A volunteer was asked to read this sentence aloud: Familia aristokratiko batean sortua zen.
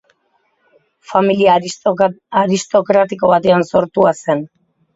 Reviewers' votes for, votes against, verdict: 0, 2, rejected